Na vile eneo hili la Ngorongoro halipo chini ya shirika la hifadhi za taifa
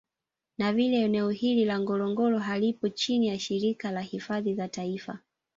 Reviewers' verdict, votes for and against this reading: accepted, 2, 1